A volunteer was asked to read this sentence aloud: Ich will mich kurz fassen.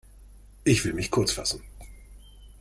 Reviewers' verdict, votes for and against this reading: accepted, 2, 0